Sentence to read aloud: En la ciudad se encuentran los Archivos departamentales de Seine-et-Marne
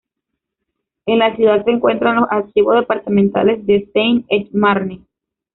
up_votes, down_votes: 2, 0